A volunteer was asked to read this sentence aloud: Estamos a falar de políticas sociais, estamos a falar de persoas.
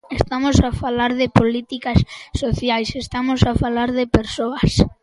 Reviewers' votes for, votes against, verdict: 2, 0, accepted